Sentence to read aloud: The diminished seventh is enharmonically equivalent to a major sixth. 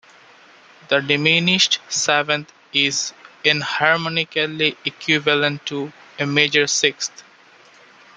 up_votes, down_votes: 1, 2